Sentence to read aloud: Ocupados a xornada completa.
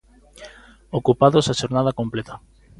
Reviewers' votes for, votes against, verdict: 2, 0, accepted